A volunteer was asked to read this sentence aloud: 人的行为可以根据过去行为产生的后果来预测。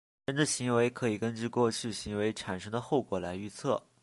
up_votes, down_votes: 0, 2